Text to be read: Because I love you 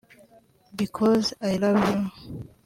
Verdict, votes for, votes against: rejected, 1, 2